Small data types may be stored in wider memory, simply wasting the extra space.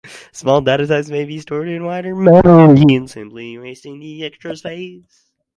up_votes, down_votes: 0, 4